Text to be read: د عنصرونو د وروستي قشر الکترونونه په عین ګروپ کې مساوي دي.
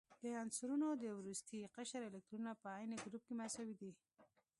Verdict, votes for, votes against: rejected, 1, 2